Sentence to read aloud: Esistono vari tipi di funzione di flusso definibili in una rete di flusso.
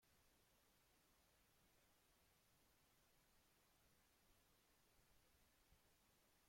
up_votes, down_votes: 0, 2